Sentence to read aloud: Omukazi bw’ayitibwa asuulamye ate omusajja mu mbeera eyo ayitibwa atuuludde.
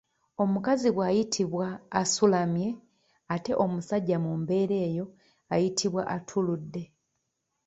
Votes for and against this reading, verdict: 0, 2, rejected